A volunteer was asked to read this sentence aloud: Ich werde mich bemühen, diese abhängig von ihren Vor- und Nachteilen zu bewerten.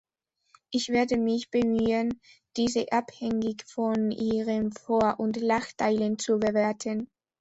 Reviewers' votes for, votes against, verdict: 1, 2, rejected